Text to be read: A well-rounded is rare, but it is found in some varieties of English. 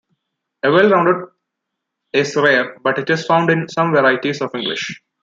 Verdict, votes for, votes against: rejected, 1, 2